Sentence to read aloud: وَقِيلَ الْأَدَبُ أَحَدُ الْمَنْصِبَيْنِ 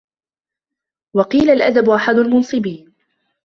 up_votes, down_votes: 1, 2